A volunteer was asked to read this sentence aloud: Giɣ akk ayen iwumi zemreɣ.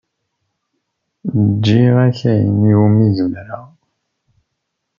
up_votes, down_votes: 1, 2